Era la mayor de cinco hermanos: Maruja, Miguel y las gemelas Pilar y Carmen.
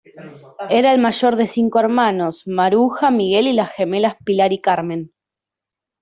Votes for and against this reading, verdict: 1, 2, rejected